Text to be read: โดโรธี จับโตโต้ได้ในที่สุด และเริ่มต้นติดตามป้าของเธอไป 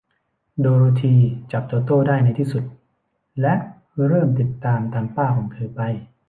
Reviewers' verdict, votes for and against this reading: rejected, 1, 2